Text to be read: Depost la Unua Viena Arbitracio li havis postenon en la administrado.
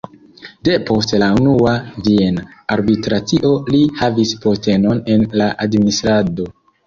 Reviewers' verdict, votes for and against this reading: accepted, 2, 0